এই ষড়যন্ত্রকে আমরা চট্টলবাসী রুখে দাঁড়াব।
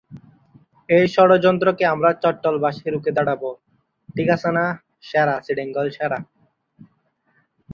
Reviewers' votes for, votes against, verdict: 0, 4, rejected